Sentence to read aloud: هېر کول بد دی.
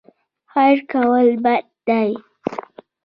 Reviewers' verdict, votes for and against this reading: accepted, 2, 0